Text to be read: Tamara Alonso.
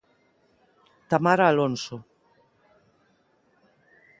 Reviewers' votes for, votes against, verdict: 2, 0, accepted